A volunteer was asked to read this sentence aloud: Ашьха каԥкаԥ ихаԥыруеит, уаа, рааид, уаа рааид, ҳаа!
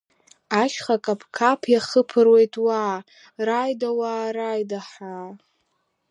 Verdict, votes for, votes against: rejected, 0, 2